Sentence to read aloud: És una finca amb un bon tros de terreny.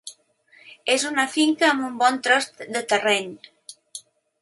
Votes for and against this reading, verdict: 3, 0, accepted